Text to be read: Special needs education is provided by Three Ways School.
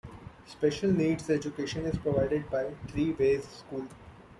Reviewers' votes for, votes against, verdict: 2, 0, accepted